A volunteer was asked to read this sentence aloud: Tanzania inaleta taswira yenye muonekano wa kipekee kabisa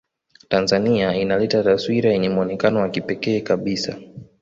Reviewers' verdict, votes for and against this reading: accepted, 2, 1